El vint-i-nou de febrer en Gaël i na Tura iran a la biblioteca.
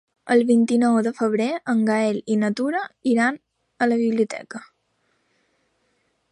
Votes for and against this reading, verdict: 2, 0, accepted